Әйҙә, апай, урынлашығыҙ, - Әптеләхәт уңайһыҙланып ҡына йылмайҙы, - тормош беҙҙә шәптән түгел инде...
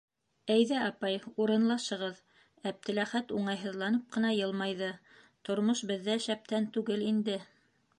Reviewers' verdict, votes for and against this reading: accepted, 2, 0